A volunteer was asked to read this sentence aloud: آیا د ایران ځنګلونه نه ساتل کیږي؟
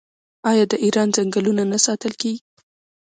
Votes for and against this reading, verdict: 2, 0, accepted